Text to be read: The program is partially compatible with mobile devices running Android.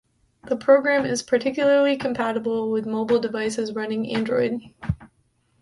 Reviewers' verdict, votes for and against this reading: rejected, 0, 2